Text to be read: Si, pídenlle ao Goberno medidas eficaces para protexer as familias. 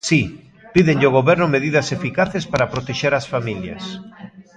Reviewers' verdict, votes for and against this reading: accepted, 2, 0